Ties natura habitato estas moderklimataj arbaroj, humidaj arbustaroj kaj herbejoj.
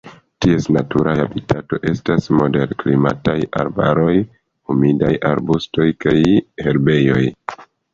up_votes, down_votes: 1, 2